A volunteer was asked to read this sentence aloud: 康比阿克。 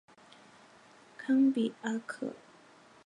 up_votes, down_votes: 2, 1